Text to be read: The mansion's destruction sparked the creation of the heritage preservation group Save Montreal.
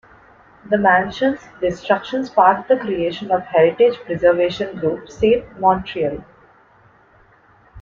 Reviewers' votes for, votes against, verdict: 1, 2, rejected